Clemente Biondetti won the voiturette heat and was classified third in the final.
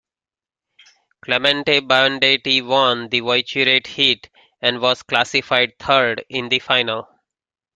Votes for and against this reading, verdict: 0, 2, rejected